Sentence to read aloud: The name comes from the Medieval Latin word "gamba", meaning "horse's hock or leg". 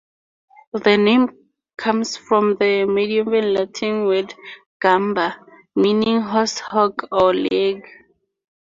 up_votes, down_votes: 2, 2